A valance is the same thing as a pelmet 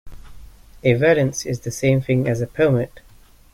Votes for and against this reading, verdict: 2, 0, accepted